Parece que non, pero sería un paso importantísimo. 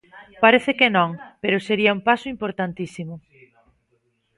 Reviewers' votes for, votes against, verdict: 3, 1, accepted